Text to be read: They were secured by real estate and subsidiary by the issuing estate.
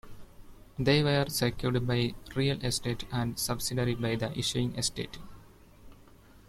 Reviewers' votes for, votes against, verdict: 1, 2, rejected